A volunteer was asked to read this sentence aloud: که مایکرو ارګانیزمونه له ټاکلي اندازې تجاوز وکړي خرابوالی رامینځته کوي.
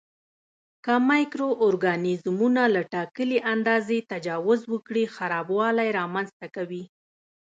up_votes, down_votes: 1, 2